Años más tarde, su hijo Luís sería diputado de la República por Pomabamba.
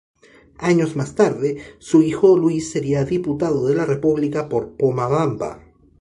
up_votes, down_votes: 2, 0